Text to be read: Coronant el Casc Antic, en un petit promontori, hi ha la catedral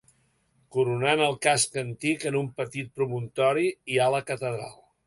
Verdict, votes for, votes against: accepted, 2, 0